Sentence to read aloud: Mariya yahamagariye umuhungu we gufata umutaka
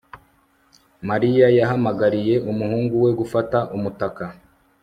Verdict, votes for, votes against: accepted, 2, 0